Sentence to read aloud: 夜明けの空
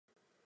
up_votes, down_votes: 0, 2